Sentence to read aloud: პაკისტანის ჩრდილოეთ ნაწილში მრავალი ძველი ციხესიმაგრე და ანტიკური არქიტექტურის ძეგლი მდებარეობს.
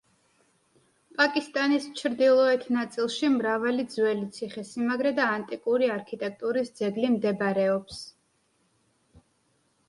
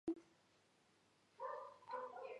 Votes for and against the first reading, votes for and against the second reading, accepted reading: 2, 0, 0, 2, first